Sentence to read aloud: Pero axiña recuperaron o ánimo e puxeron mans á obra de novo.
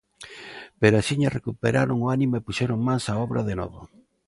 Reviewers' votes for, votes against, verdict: 2, 0, accepted